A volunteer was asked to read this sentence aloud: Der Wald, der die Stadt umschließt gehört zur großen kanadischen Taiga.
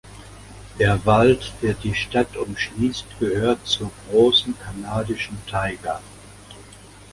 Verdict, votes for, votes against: accepted, 2, 0